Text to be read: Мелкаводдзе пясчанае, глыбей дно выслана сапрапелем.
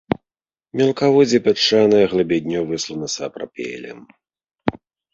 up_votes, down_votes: 0, 2